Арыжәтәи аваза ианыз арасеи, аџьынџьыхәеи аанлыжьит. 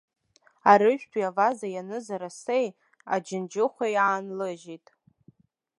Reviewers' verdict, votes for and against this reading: accepted, 2, 0